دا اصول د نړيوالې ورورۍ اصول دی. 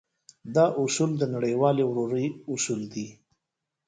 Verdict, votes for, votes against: accepted, 2, 0